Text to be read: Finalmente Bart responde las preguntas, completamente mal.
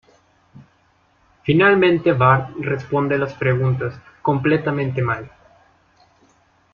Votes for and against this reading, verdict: 2, 0, accepted